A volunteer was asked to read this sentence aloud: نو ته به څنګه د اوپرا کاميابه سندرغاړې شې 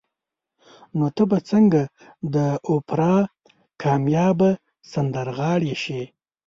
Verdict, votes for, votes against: rejected, 1, 2